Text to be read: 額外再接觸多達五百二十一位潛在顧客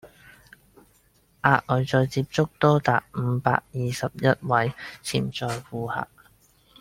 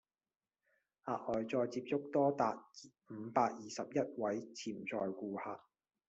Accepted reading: first